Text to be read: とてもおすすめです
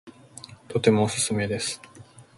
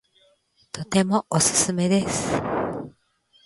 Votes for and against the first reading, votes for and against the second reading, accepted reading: 2, 0, 1, 2, first